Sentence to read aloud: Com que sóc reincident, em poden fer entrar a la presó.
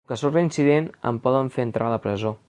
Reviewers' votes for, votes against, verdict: 0, 2, rejected